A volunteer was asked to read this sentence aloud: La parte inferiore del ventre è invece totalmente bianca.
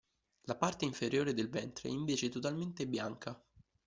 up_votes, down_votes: 2, 0